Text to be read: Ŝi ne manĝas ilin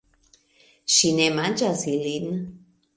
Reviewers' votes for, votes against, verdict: 2, 1, accepted